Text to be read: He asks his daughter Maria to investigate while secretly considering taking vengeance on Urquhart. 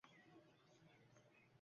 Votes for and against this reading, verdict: 0, 2, rejected